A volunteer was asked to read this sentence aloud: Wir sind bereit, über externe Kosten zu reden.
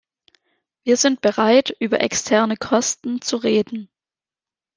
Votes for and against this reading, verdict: 2, 0, accepted